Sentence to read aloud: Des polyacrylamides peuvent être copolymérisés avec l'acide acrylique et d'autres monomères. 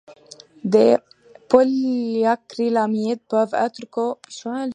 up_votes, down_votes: 0, 2